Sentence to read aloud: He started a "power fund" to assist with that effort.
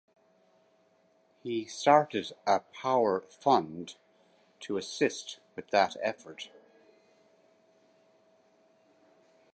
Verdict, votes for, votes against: rejected, 0, 2